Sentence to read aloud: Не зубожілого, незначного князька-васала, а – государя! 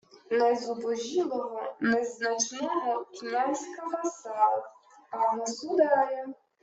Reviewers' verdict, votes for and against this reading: accepted, 2, 1